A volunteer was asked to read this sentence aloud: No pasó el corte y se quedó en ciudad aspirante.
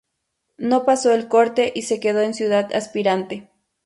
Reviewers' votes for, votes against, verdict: 2, 0, accepted